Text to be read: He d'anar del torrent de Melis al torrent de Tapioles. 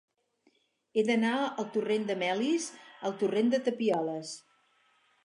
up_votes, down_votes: 0, 4